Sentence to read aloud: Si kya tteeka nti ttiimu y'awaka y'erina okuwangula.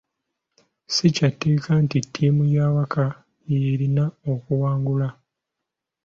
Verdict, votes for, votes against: accepted, 2, 0